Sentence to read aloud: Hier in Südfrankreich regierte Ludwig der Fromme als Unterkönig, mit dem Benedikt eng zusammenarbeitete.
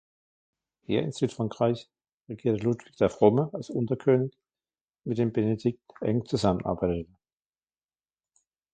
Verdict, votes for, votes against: accepted, 2, 0